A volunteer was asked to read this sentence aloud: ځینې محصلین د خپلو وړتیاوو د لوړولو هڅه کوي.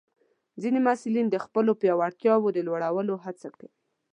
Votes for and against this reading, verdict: 1, 2, rejected